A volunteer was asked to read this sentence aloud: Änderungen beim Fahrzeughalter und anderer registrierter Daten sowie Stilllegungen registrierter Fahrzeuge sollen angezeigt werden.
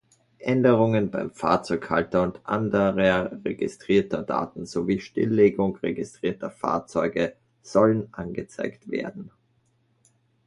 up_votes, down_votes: 1, 2